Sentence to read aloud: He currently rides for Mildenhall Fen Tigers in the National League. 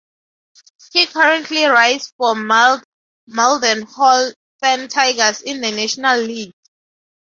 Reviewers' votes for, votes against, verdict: 0, 2, rejected